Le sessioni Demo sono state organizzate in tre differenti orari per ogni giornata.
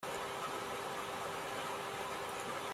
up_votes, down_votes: 0, 2